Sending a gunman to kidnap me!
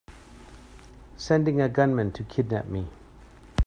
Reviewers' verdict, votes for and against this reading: accepted, 2, 0